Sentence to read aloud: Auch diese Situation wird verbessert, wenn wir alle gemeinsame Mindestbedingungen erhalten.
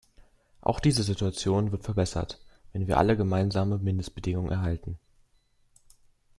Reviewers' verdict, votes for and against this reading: accepted, 2, 0